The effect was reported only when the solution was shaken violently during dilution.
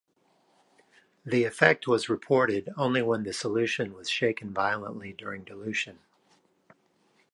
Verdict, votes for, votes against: accepted, 2, 0